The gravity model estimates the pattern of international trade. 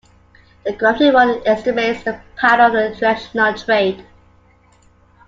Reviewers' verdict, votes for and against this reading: accepted, 2, 1